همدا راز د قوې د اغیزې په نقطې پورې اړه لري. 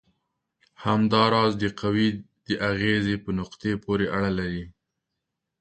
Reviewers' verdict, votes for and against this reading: rejected, 2, 3